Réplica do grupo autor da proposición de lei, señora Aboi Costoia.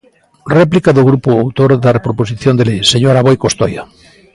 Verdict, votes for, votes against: accepted, 2, 0